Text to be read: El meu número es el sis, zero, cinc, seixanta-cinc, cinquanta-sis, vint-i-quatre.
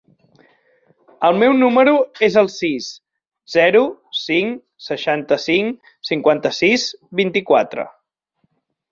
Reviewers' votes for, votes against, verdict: 5, 0, accepted